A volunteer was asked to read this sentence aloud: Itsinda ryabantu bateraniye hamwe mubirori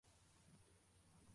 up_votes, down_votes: 0, 2